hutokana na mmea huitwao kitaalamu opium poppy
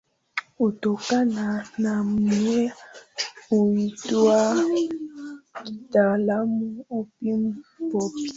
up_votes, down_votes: 1, 2